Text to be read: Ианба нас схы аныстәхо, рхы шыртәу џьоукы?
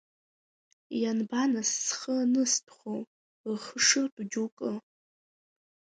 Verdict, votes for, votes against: accepted, 2, 0